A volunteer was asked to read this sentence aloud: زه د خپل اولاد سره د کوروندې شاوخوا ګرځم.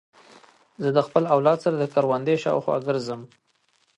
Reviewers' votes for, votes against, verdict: 2, 0, accepted